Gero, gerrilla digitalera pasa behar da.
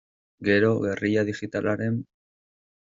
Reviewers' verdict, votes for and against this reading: rejected, 0, 2